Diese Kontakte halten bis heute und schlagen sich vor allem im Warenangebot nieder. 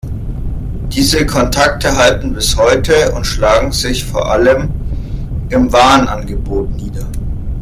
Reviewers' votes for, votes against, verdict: 1, 2, rejected